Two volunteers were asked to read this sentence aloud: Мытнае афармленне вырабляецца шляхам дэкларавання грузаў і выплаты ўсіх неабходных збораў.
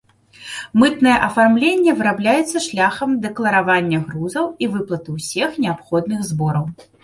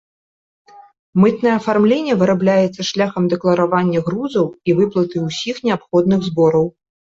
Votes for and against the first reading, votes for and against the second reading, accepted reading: 0, 2, 2, 0, second